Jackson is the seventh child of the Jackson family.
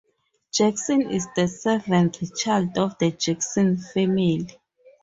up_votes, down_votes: 4, 0